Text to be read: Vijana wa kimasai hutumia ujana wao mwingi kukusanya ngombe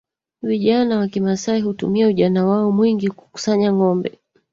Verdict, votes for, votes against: rejected, 1, 2